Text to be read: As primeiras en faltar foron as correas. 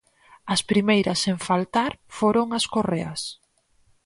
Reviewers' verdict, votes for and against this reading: accepted, 4, 0